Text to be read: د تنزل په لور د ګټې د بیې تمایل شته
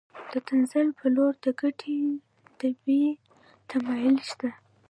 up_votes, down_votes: 2, 1